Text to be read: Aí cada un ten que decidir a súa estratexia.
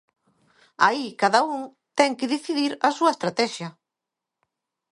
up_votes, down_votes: 2, 0